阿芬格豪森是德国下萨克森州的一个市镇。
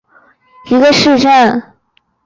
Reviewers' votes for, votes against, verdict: 1, 7, rejected